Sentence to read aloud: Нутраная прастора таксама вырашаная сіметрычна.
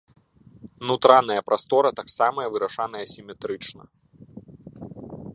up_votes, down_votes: 0, 2